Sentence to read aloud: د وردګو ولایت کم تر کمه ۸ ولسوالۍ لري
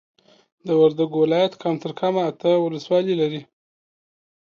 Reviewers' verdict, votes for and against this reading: rejected, 0, 2